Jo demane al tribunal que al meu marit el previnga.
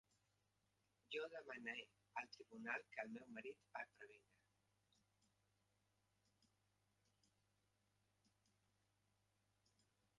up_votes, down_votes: 0, 2